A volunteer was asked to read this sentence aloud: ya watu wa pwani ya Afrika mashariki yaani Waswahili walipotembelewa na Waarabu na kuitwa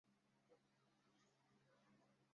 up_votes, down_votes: 0, 2